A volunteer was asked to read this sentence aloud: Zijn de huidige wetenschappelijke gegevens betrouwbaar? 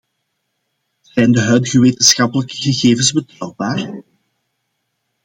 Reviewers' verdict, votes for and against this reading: accepted, 2, 0